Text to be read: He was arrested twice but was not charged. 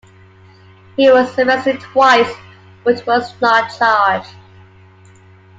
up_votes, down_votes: 2, 1